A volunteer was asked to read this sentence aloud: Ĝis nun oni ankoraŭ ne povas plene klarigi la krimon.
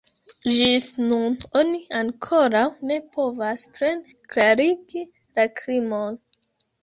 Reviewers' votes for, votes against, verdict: 0, 2, rejected